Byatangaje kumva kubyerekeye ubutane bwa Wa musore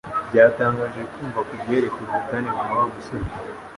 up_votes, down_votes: 2, 1